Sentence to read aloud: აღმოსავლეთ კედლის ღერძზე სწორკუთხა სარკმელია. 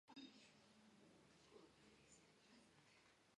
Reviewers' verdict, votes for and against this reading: rejected, 0, 2